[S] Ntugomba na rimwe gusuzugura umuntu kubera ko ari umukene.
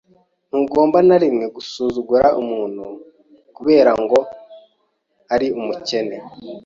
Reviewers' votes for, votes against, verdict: 0, 3, rejected